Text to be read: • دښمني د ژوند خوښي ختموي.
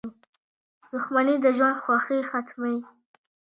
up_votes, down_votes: 2, 0